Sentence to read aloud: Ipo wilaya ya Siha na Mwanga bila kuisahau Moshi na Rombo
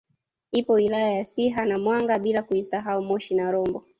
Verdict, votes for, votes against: rejected, 1, 2